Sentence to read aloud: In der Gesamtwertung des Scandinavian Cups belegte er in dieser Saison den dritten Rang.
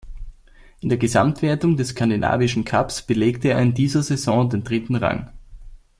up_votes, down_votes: 0, 2